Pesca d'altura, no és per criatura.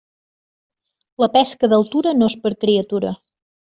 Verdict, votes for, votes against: rejected, 0, 2